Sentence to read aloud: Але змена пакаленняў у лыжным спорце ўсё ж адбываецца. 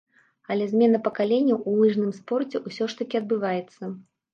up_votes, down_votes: 1, 2